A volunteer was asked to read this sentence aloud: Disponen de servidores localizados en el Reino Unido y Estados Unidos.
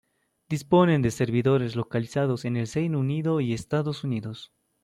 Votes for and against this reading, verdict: 0, 2, rejected